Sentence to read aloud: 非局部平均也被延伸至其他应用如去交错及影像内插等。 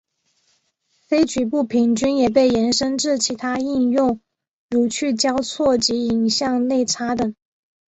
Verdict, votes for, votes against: accepted, 3, 0